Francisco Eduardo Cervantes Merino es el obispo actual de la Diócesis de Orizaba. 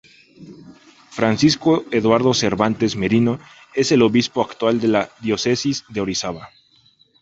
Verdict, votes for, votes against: accepted, 2, 0